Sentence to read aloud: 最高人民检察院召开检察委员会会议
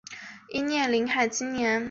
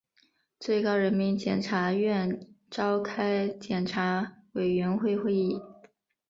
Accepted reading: second